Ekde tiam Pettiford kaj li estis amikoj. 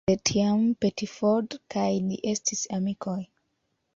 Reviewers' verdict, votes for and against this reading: rejected, 0, 2